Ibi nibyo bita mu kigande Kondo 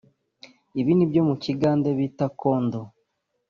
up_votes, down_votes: 1, 2